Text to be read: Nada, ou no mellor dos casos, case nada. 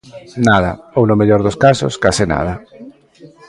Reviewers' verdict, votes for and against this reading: accepted, 2, 0